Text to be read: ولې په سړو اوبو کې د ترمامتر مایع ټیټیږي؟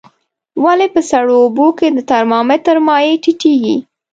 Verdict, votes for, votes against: accepted, 2, 0